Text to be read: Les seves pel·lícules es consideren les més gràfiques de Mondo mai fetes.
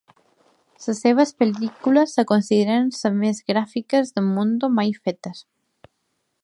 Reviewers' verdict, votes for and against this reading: accepted, 2, 1